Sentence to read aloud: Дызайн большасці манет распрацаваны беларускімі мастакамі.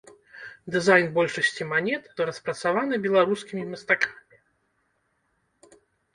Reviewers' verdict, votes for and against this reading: rejected, 1, 2